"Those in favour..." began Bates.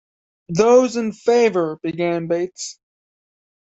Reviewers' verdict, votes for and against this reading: accepted, 2, 0